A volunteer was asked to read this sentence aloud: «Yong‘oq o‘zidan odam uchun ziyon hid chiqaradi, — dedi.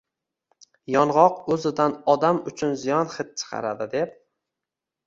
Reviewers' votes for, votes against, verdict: 1, 2, rejected